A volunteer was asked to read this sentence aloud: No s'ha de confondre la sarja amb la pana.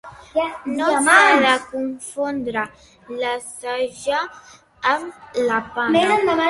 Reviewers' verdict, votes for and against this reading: rejected, 0, 2